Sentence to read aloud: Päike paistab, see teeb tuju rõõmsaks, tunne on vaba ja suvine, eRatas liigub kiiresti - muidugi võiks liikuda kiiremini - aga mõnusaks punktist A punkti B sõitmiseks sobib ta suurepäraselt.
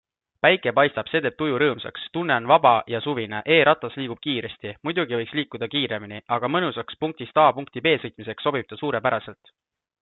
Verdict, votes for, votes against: accepted, 2, 0